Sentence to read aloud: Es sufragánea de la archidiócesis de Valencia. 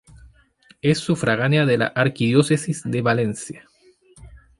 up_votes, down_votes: 0, 2